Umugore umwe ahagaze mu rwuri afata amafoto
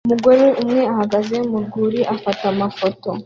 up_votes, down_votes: 2, 0